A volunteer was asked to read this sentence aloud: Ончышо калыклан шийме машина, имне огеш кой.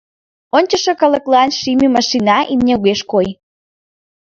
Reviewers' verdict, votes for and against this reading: accepted, 2, 0